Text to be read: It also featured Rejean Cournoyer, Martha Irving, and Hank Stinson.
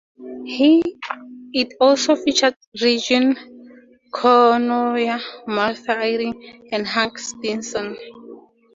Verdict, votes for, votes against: rejected, 0, 2